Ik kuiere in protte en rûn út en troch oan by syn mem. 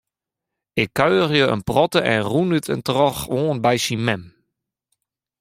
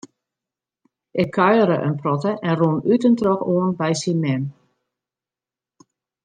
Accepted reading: second